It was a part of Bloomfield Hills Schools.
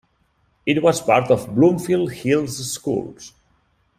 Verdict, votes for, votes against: accepted, 2, 1